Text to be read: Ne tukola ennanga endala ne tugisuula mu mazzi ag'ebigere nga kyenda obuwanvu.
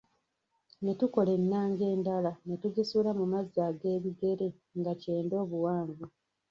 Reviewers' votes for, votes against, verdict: 1, 2, rejected